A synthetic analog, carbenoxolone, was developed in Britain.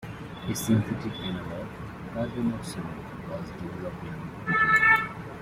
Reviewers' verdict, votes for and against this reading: rejected, 0, 2